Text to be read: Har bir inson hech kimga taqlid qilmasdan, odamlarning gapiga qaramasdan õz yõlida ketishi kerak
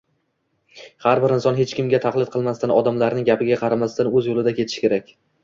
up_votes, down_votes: 2, 0